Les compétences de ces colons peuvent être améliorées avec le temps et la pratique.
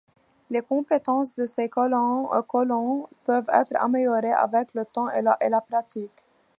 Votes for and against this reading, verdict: 1, 2, rejected